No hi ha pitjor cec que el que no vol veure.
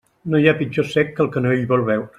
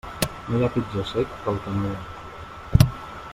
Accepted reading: first